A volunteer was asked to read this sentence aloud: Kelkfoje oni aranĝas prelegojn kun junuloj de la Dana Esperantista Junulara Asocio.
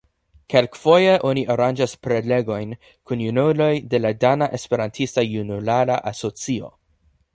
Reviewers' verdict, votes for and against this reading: accepted, 2, 0